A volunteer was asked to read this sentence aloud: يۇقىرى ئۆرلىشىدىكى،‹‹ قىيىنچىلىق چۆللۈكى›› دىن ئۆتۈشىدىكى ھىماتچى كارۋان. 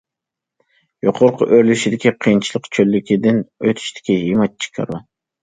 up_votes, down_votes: 1, 2